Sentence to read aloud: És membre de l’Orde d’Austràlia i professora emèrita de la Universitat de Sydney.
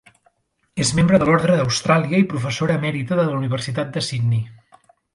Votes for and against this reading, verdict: 2, 0, accepted